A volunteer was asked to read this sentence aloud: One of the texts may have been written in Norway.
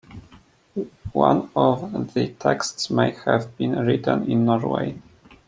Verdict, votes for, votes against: accepted, 2, 0